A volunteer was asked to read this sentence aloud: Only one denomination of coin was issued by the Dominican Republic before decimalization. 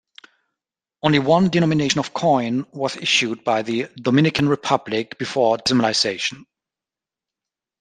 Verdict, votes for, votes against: rejected, 1, 2